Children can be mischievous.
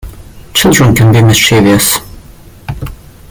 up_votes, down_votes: 0, 2